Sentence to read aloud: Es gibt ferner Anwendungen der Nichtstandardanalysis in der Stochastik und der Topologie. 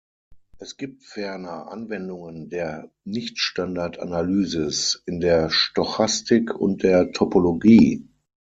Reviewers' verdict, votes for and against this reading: accepted, 6, 0